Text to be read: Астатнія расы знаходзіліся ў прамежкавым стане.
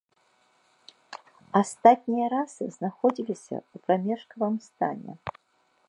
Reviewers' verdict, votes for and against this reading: accepted, 3, 0